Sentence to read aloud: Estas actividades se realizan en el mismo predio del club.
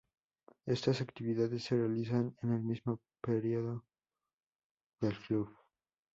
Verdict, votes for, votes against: rejected, 0, 2